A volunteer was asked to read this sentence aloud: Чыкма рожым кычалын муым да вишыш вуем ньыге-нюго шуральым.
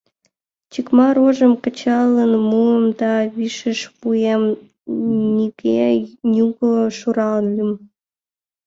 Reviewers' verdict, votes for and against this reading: accepted, 2, 0